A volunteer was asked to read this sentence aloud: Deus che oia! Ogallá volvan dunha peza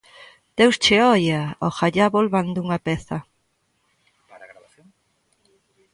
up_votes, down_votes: 0, 2